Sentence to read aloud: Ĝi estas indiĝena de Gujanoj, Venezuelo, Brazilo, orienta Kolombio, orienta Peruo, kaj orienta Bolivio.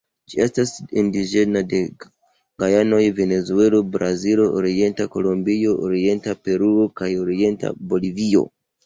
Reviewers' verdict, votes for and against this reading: rejected, 0, 2